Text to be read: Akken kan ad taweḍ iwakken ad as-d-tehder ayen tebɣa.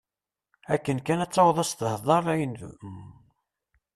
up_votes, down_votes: 0, 2